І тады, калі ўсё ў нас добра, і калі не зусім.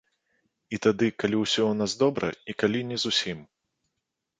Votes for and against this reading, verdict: 2, 0, accepted